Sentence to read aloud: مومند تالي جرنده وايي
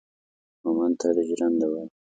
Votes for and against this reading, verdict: 2, 1, accepted